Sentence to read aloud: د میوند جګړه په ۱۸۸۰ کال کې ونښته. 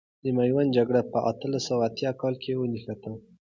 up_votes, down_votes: 0, 2